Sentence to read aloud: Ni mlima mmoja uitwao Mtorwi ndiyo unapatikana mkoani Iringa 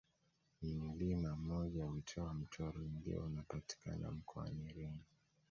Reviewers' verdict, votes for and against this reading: accepted, 2, 0